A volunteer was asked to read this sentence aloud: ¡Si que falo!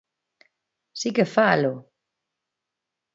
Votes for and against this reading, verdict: 2, 0, accepted